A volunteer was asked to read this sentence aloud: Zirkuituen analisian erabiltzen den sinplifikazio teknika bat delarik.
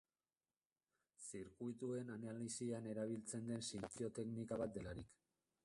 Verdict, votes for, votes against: rejected, 0, 3